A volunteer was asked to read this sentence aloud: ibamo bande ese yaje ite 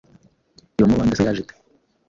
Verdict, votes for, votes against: rejected, 1, 2